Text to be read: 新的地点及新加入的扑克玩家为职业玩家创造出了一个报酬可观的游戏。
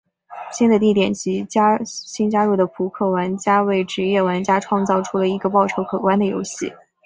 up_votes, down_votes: 3, 0